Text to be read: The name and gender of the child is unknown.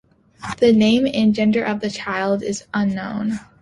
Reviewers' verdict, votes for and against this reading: accepted, 2, 1